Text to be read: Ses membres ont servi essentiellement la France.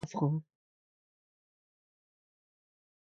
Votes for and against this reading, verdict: 0, 2, rejected